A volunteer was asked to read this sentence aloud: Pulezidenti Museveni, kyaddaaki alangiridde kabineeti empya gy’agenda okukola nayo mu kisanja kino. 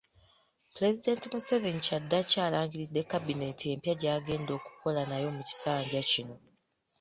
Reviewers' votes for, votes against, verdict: 2, 0, accepted